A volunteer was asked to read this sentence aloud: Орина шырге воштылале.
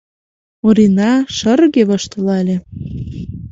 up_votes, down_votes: 2, 0